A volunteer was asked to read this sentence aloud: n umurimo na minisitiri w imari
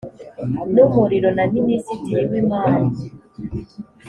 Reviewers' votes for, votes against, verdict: 1, 2, rejected